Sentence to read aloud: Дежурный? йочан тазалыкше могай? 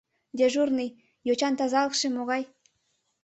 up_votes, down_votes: 2, 0